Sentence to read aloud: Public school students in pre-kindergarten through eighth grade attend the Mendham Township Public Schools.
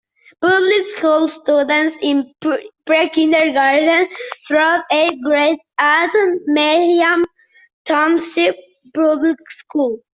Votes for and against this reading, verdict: 2, 1, accepted